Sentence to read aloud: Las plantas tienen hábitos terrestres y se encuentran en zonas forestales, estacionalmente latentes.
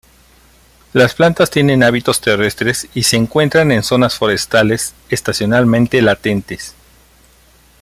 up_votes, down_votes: 2, 0